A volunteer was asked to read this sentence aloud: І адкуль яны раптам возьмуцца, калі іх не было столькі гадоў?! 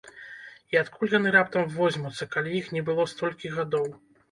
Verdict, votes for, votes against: accepted, 2, 0